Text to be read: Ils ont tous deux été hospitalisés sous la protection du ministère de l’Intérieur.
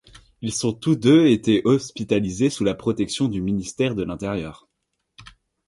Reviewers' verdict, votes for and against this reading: accepted, 2, 0